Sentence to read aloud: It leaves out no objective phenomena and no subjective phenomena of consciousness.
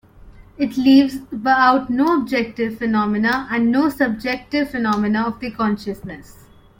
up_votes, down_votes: 0, 2